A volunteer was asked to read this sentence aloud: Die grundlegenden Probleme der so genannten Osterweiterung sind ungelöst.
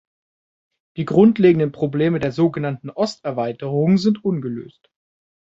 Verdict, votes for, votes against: accepted, 2, 0